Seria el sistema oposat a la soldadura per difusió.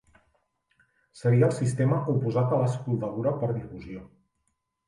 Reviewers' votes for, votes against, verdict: 2, 1, accepted